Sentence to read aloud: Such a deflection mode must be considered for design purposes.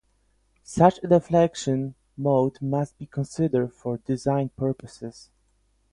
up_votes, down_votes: 4, 0